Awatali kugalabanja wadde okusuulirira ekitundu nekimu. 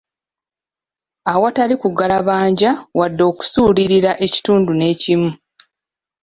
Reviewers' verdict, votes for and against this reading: accepted, 3, 0